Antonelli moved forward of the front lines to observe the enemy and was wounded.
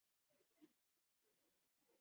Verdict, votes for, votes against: rejected, 0, 2